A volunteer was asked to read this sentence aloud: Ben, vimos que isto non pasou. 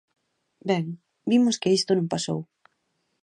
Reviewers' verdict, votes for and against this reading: accepted, 2, 0